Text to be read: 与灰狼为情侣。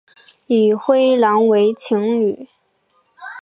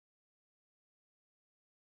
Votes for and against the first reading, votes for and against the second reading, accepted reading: 2, 0, 2, 6, first